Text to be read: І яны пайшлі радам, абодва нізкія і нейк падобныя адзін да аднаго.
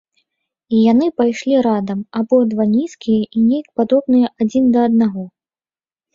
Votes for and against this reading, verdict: 2, 0, accepted